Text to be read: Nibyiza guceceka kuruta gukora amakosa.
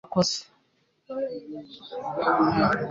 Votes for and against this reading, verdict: 1, 2, rejected